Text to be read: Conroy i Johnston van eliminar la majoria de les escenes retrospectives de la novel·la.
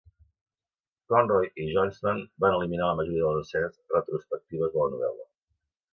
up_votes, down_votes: 2, 0